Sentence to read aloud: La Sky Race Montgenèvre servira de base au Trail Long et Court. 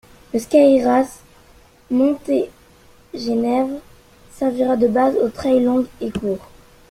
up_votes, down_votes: 1, 2